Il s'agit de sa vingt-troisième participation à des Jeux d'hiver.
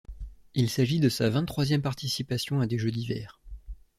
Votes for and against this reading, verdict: 2, 0, accepted